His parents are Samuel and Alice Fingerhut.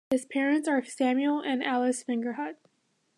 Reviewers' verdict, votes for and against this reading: accepted, 2, 0